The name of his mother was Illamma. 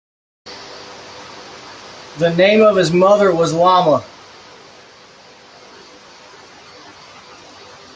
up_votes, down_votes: 0, 2